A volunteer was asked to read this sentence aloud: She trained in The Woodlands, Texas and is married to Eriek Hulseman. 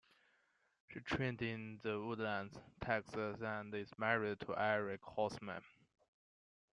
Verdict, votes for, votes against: accepted, 3, 0